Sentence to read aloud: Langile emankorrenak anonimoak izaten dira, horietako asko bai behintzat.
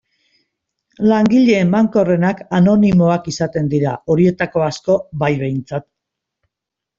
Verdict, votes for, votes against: accepted, 2, 0